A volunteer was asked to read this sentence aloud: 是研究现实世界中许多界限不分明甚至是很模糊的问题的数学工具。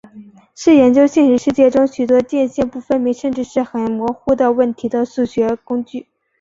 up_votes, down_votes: 2, 1